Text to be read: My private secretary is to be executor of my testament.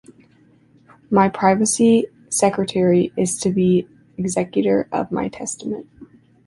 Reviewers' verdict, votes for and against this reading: rejected, 0, 2